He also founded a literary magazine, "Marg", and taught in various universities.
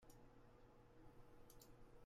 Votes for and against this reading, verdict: 0, 2, rejected